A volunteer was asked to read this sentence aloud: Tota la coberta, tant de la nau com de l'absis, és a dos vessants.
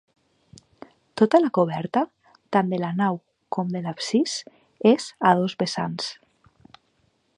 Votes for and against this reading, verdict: 2, 0, accepted